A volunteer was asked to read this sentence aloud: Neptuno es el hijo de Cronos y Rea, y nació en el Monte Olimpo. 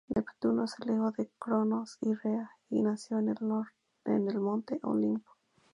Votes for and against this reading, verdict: 0, 4, rejected